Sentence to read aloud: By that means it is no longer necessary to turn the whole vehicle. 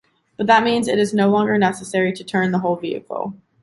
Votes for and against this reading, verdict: 1, 2, rejected